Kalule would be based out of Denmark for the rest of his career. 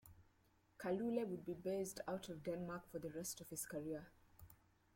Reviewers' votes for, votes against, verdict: 2, 1, accepted